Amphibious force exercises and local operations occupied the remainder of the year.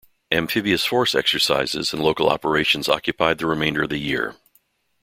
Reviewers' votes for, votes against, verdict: 2, 1, accepted